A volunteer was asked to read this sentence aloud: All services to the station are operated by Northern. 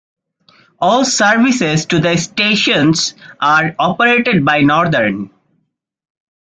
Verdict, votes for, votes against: rejected, 1, 2